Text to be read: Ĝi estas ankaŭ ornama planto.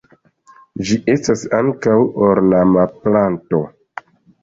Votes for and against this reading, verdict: 2, 0, accepted